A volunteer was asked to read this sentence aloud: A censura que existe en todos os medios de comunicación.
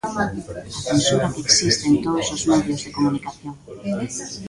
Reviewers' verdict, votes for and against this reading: rejected, 0, 2